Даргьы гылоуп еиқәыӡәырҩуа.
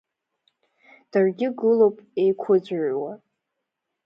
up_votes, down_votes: 0, 2